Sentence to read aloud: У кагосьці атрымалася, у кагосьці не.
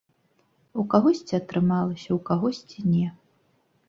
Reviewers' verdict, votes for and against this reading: accepted, 2, 0